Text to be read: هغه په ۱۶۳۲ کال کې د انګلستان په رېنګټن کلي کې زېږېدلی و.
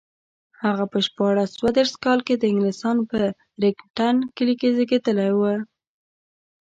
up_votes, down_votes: 0, 2